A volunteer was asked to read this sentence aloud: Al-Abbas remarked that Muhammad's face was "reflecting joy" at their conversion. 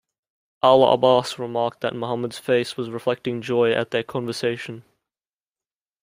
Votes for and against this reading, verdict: 0, 2, rejected